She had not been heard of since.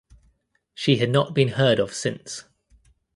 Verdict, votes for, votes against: accepted, 2, 0